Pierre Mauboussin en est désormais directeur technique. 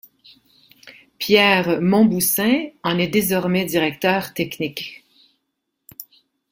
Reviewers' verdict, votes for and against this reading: rejected, 0, 2